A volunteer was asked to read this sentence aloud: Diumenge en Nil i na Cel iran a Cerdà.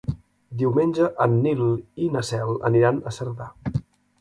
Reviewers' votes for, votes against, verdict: 1, 2, rejected